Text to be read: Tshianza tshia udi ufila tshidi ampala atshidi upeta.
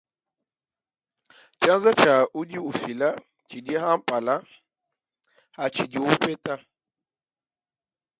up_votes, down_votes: 1, 2